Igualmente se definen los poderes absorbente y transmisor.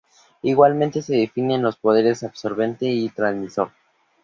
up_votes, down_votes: 2, 0